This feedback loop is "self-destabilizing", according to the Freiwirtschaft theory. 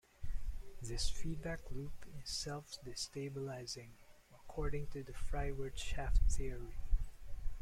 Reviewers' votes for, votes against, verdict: 2, 1, accepted